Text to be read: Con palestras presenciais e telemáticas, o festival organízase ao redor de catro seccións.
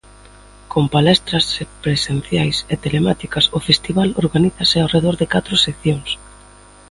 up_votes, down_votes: 2, 1